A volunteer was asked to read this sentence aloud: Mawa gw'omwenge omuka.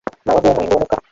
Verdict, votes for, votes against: rejected, 0, 3